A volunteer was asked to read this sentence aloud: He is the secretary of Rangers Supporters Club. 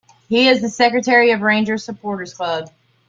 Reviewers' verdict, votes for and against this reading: accepted, 3, 0